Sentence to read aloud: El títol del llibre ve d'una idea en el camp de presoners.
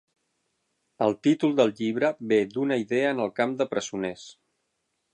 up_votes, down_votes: 12, 0